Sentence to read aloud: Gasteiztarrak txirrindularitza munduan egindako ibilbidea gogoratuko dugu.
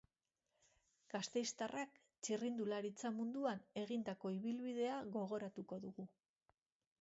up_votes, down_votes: 2, 2